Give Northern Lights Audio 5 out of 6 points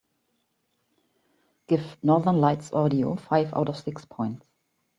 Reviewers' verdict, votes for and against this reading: rejected, 0, 2